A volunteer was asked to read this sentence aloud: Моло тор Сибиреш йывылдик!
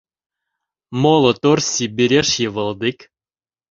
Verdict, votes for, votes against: accepted, 2, 0